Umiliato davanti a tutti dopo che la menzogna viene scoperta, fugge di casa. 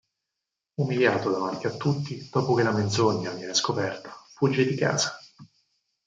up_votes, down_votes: 0, 4